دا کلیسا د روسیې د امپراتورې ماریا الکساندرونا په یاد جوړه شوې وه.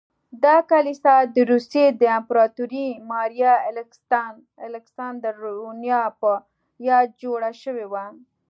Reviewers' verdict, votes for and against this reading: accepted, 2, 1